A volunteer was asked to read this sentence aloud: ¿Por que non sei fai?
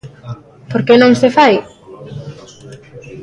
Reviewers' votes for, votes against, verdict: 0, 2, rejected